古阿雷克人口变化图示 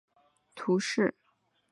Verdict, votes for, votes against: rejected, 0, 3